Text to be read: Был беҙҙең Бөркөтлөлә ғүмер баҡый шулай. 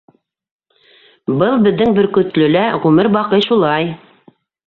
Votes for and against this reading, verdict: 2, 1, accepted